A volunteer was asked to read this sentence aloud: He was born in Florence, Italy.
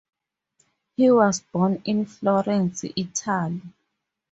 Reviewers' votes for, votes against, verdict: 0, 4, rejected